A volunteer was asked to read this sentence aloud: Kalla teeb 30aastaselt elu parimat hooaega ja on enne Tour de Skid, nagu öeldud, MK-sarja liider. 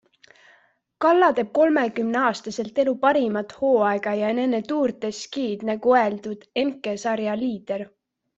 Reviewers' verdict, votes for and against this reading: rejected, 0, 2